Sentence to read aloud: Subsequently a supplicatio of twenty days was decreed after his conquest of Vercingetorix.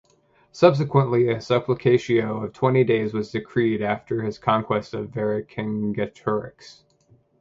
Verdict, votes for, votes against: accepted, 2, 0